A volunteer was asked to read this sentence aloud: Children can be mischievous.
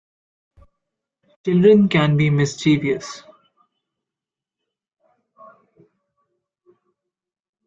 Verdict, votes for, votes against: accepted, 2, 0